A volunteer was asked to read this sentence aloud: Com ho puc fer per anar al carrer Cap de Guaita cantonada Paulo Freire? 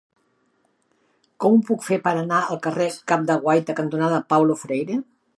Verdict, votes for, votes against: accepted, 4, 0